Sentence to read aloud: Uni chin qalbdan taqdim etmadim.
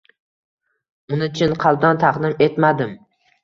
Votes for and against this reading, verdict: 2, 0, accepted